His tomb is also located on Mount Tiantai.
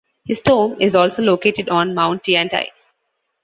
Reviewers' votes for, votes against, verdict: 2, 0, accepted